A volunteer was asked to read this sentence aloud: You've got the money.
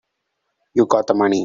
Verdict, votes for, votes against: rejected, 0, 2